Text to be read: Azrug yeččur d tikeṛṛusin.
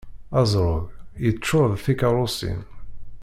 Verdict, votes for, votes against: rejected, 0, 2